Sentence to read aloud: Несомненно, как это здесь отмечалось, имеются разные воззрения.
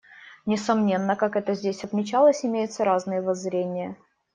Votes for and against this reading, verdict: 2, 0, accepted